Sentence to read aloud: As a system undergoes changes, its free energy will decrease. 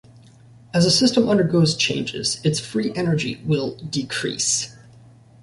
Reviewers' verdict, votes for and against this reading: accepted, 2, 0